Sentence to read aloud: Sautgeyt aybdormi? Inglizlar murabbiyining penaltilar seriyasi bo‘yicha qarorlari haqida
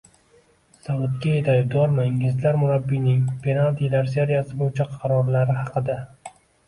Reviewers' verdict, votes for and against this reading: rejected, 1, 2